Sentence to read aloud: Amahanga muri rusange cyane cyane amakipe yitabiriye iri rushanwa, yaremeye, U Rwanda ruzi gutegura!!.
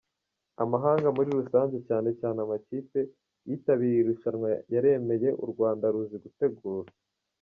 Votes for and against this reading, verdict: 0, 2, rejected